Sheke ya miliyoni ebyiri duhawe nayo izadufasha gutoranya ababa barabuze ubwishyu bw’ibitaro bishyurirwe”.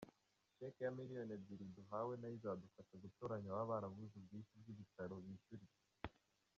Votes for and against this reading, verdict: 0, 2, rejected